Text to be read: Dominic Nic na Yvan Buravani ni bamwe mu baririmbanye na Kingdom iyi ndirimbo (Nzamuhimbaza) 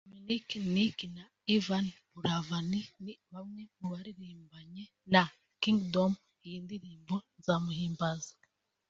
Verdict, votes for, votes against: accepted, 2, 0